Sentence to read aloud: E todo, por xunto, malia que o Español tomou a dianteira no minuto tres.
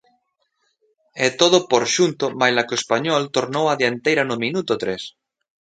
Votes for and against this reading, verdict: 1, 2, rejected